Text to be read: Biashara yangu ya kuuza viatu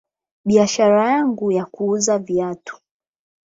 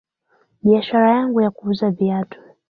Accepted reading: first